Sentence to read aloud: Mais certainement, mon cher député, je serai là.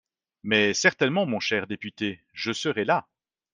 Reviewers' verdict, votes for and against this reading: accepted, 3, 0